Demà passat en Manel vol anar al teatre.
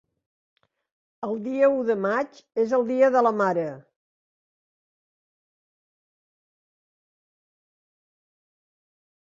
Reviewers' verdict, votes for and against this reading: rejected, 1, 2